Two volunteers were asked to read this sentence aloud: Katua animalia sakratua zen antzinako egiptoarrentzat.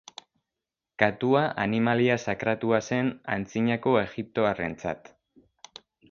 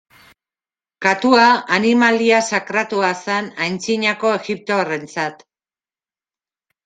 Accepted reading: first